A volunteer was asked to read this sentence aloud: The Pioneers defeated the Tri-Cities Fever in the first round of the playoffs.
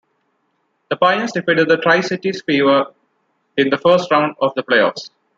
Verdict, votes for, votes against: accepted, 2, 0